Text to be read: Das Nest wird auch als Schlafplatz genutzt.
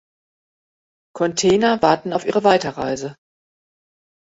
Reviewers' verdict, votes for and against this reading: rejected, 0, 2